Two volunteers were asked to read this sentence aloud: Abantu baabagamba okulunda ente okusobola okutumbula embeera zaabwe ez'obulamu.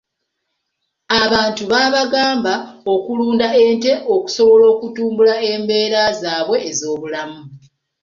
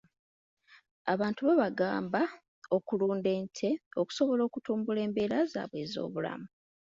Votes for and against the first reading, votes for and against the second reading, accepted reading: 2, 0, 1, 2, first